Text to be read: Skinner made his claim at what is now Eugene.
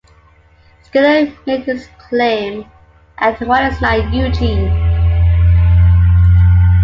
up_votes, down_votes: 0, 2